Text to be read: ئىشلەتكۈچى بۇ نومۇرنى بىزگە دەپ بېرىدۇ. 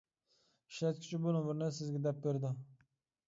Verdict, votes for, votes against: rejected, 0, 2